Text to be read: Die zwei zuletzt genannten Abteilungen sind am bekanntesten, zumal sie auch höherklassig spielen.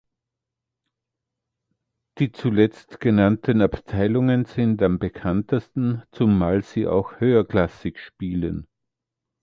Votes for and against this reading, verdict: 0, 2, rejected